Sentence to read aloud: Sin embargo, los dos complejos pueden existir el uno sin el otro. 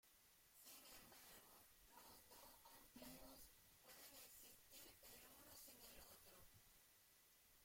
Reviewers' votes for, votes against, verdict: 0, 2, rejected